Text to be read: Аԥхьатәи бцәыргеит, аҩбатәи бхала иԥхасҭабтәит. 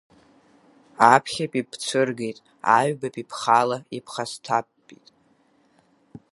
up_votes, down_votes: 8, 1